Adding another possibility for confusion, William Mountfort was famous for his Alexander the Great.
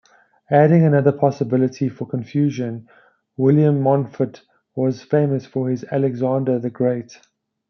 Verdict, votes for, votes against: accepted, 2, 0